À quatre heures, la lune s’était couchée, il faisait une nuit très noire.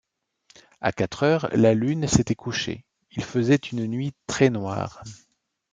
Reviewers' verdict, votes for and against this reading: accepted, 2, 0